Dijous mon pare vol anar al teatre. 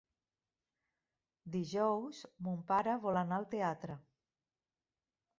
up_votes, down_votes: 0, 2